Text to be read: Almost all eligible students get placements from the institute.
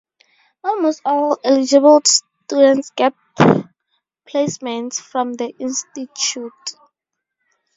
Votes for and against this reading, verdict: 0, 2, rejected